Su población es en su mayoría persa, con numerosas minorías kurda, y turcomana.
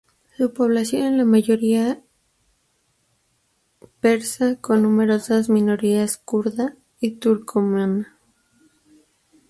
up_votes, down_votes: 0, 2